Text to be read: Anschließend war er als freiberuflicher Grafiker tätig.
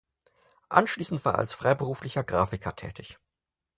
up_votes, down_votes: 4, 0